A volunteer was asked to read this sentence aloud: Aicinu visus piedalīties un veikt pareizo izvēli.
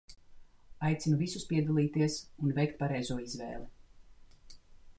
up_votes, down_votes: 2, 0